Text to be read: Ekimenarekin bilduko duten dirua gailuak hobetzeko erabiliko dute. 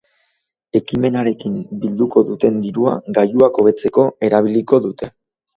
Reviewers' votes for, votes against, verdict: 4, 0, accepted